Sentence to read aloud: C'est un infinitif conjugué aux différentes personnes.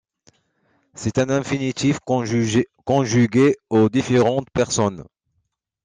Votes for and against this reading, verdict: 1, 2, rejected